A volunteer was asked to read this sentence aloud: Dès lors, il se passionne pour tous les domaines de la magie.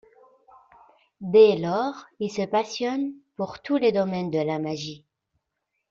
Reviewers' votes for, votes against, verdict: 2, 0, accepted